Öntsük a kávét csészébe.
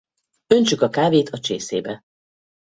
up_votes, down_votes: 0, 4